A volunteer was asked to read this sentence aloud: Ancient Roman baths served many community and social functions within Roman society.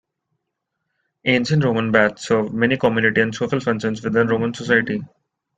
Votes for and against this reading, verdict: 2, 0, accepted